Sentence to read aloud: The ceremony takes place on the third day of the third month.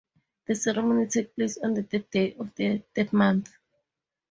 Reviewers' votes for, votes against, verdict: 2, 2, rejected